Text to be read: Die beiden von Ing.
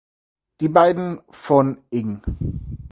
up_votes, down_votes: 0, 4